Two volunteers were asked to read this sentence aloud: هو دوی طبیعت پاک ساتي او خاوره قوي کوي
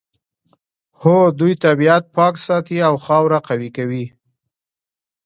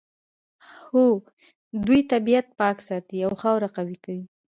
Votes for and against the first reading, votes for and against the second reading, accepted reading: 2, 0, 1, 2, first